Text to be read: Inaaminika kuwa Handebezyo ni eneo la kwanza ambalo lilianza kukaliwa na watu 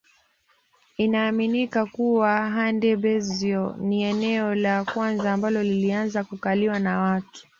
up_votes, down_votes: 2, 0